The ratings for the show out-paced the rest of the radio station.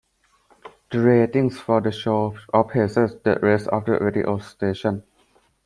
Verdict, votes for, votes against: rejected, 0, 2